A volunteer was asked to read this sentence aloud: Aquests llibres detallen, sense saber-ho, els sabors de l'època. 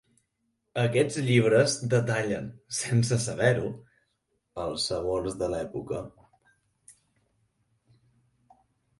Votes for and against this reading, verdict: 6, 2, accepted